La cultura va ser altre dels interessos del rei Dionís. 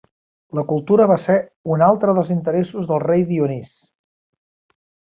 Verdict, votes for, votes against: rejected, 1, 2